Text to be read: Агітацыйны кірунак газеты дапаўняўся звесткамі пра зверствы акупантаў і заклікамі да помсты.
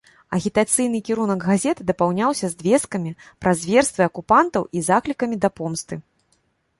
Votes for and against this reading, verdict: 0, 2, rejected